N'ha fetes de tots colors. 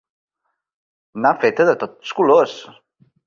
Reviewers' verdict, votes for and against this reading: rejected, 1, 2